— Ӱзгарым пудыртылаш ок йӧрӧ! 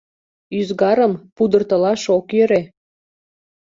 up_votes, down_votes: 2, 0